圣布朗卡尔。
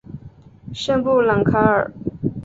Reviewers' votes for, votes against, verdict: 3, 0, accepted